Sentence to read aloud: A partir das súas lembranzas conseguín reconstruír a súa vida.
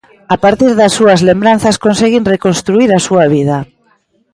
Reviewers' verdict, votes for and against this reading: accepted, 2, 1